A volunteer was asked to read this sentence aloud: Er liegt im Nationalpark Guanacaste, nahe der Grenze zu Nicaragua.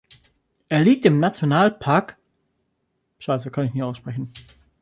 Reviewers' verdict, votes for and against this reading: rejected, 0, 2